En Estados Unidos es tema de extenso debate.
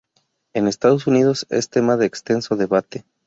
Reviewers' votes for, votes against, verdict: 2, 0, accepted